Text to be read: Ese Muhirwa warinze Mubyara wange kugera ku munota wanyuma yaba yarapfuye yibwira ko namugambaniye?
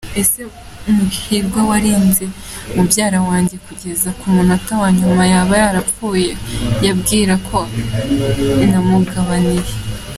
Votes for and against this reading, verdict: 1, 2, rejected